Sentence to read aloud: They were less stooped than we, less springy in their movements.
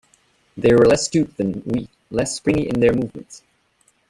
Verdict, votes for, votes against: rejected, 1, 2